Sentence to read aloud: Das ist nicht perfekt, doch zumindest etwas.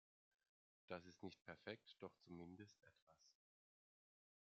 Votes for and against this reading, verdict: 1, 2, rejected